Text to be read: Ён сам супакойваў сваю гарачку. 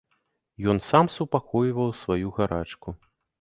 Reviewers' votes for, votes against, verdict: 2, 0, accepted